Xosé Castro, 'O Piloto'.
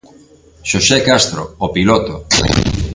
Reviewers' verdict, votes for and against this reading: rejected, 0, 2